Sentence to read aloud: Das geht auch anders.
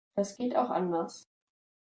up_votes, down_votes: 2, 0